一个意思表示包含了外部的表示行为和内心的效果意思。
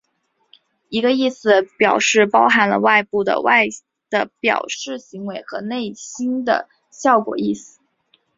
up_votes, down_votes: 1, 3